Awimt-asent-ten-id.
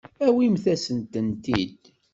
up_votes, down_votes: 1, 2